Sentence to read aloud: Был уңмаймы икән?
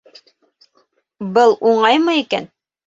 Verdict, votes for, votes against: rejected, 0, 2